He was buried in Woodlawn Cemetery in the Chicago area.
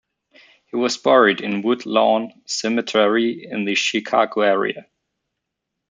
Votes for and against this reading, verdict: 2, 0, accepted